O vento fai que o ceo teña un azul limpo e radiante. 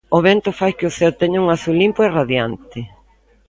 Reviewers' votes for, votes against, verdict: 2, 0, accepted